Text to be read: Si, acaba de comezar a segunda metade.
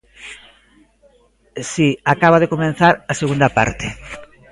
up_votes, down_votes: 0, 2